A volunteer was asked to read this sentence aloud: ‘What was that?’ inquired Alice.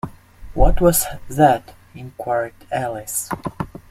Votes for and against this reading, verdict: 2, 0, accepted